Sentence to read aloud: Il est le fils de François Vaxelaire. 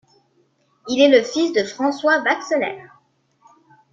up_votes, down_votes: 2, 0